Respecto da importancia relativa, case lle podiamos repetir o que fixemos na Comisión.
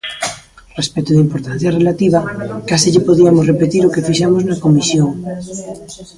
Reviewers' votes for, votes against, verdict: 0, 2, rejected